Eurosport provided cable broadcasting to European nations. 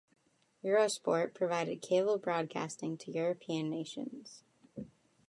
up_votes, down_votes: 2, 0